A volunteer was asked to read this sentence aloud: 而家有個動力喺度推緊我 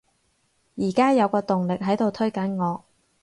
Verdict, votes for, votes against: accepted, 4, 0